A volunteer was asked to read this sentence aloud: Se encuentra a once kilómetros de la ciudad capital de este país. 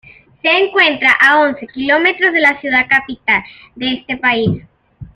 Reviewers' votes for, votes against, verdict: 2, 1, accepted